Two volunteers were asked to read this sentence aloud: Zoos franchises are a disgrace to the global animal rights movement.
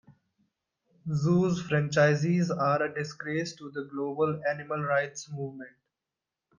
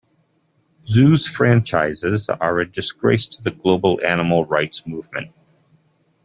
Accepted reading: second